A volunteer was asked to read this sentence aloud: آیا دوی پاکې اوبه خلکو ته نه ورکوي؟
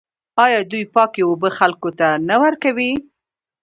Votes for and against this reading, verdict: 2, 0, accepted